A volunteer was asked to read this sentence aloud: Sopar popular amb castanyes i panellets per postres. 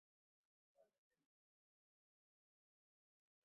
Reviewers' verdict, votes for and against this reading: rejected, 1, 2